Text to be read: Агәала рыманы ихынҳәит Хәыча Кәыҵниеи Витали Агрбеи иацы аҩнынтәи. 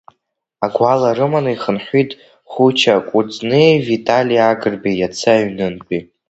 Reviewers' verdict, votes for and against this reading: rejected, 2, 3